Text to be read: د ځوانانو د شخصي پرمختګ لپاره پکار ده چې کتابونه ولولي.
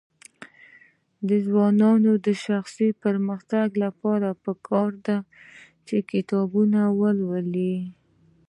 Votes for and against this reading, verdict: 2, 0, accepted